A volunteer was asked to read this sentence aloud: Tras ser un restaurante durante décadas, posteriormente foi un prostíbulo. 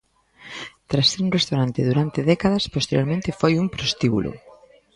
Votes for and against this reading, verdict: 1, 2, rejected